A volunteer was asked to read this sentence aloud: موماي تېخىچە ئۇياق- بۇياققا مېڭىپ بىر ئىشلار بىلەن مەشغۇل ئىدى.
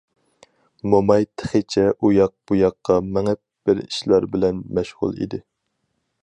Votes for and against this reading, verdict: 4, 0, accepted